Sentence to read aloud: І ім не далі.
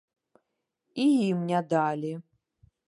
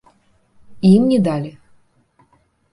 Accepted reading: second